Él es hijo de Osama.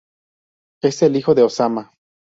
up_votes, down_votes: 0, 2